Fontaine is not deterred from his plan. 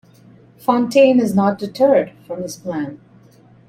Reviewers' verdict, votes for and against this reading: accepted, 2, 0